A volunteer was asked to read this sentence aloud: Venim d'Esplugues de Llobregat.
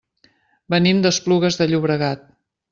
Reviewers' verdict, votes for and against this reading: accepted, 3, 0